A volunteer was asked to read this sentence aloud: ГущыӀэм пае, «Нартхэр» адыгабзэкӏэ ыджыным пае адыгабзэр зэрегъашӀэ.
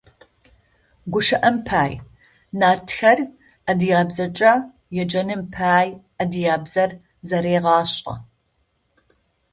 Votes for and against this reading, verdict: 0, 2, rejected